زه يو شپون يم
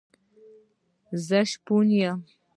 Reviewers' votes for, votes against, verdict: 0, 2, rejected